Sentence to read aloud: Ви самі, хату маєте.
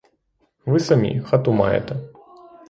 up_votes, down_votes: 3, 6